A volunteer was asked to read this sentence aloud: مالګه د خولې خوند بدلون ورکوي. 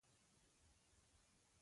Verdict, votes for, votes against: accepted, 2, 1